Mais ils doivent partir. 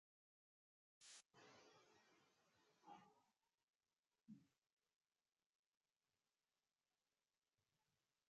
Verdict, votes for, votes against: rejected, 0, 2